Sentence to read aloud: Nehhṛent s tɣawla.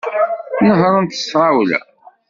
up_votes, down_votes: 0, 2